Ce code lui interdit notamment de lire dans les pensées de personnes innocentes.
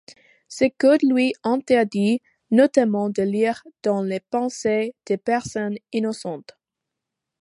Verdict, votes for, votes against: accepted, 2, 0